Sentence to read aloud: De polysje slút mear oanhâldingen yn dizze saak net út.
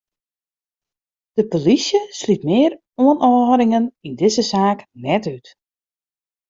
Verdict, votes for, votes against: rejected, 1, 2